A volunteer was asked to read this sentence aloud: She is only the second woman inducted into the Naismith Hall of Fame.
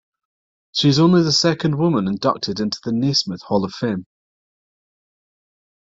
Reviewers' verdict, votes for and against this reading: rejected, 1, 2